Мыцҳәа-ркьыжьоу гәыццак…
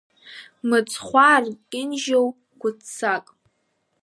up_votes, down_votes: 1, 2